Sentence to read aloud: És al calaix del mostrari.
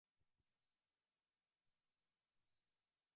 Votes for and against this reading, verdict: 0, 2, rejected